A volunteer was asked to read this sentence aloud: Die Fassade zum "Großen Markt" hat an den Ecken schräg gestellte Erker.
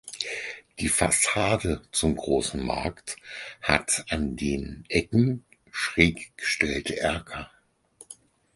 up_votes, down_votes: 4, 0